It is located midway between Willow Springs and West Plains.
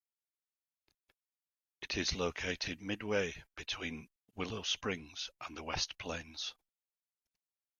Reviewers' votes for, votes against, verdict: 1, 2, rejected